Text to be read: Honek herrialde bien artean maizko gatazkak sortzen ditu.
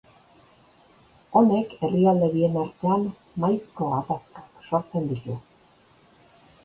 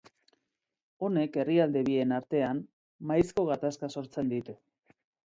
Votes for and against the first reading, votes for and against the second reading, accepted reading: 2, 0, 1, 2, first